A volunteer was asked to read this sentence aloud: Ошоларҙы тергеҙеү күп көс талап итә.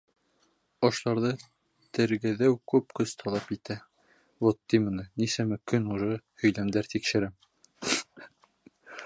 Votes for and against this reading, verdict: 0, 2, rejected